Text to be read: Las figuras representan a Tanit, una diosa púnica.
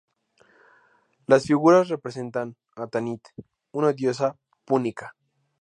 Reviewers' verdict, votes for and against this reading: accepted, 2, 0